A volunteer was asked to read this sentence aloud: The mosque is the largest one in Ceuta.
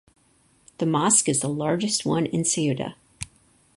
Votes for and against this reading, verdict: 4, 0, accepted